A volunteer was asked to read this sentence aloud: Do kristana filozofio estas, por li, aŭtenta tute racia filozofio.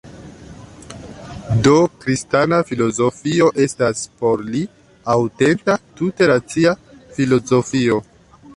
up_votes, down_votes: 2, 1